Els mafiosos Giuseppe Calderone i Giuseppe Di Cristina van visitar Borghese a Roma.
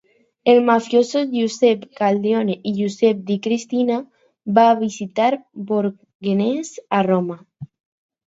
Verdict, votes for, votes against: accepted, 2, 0